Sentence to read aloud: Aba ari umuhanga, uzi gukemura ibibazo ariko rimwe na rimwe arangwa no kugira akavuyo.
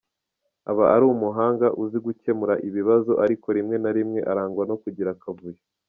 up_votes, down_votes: 2, 0